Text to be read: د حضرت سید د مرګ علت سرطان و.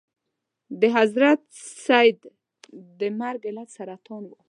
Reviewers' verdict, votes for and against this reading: accepted, 2, 0